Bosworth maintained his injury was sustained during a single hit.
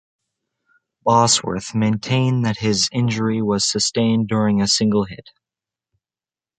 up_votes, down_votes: 1, 2